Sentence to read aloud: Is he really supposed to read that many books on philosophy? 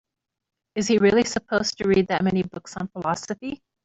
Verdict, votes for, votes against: accepted, 2, 1